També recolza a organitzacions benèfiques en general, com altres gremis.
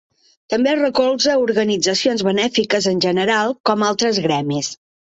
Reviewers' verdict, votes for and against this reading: accepted, 2, 1